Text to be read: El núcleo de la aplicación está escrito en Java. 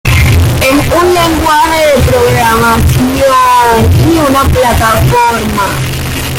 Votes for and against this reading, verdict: 0, 2, rejected